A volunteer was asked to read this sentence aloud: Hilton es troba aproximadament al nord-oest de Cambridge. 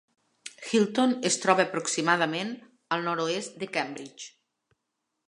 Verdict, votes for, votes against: accepted, 3, 0